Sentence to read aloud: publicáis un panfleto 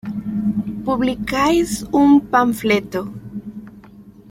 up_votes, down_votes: 2, 0